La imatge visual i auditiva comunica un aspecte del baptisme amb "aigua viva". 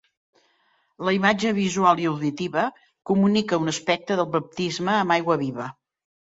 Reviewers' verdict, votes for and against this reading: accepted, 3, 0